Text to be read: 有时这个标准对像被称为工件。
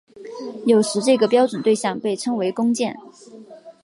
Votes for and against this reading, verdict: 3, 1, accepted